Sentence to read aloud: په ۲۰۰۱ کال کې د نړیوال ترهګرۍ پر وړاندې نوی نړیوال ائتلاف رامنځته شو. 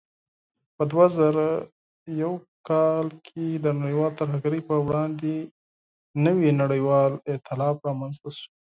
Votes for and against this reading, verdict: 0, 2, rejected